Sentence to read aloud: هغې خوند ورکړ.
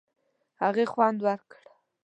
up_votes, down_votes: 2, 0